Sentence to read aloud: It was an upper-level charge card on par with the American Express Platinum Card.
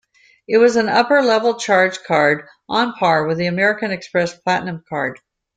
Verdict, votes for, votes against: accepted, 2, 0